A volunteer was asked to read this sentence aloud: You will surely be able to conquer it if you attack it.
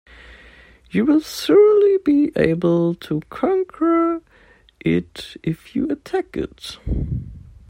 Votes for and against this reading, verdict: 2, 1, accepted